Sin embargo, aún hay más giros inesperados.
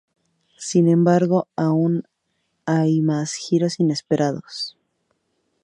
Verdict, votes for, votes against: accepted, 2, 0